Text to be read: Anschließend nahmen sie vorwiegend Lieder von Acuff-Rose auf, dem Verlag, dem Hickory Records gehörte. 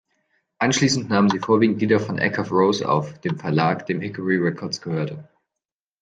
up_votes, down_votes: 1, 2